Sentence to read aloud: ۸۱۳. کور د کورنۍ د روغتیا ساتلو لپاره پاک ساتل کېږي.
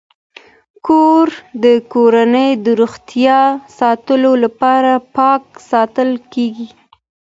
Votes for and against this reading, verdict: 0, 2, rejected